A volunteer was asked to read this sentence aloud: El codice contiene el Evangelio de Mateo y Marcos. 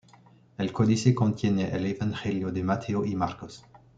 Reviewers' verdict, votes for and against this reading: accepted, 2, 0